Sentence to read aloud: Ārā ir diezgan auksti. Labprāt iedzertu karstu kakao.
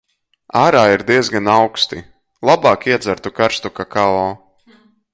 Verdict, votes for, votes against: rejected, 0, 2